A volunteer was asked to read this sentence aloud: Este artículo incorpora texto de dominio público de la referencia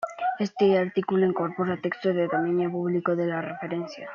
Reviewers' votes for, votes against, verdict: 2, 0, accepted